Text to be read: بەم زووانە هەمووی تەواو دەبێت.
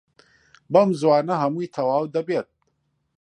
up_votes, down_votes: 2, 0